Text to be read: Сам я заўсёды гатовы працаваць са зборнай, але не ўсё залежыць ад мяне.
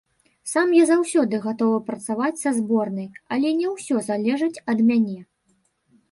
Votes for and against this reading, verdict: 0, 2, rejected